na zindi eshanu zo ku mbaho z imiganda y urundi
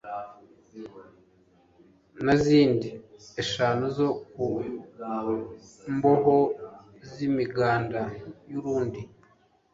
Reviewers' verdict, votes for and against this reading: rejected, 0, 2